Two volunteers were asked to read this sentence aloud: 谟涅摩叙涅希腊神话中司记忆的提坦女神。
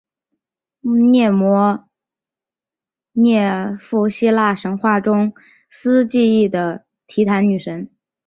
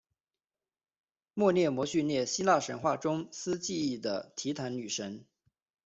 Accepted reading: second